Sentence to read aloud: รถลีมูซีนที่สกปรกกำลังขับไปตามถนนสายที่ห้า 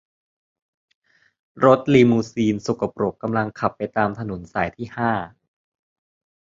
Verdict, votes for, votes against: rejected, 0, 2